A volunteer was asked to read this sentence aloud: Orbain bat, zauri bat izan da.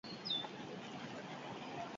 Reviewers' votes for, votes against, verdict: 0, 4, rejected